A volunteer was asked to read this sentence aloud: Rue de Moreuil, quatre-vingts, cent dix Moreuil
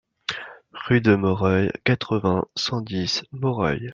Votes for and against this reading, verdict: 2, 0, accepted